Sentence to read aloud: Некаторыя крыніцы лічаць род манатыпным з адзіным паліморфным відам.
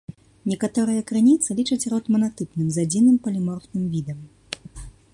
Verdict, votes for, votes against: accepted, 2, 0